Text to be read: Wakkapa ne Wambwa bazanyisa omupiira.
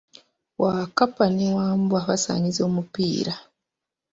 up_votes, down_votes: 0, 2